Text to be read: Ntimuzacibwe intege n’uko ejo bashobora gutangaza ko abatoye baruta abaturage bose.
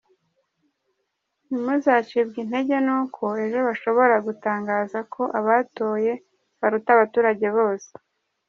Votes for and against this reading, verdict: 3, 0, accepted